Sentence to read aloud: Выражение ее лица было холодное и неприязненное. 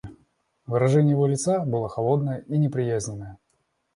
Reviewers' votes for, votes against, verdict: 0, 2, rejected